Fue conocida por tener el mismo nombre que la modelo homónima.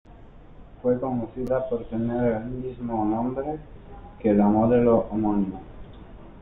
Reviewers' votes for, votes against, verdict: 1, 2, rejected